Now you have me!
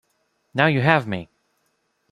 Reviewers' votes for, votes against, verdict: 2, 0, accepted